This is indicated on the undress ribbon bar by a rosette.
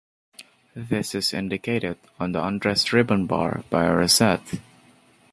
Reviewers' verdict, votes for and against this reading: accepted, 2, 1